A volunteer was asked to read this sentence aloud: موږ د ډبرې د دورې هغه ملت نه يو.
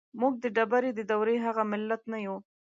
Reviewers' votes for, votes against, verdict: 2, 0, accepted